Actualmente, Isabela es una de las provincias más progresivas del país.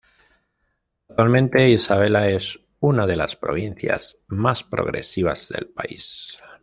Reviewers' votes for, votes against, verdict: 1, 2, rejected